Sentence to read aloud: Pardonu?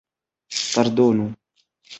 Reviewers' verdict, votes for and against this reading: rejected, 0, 2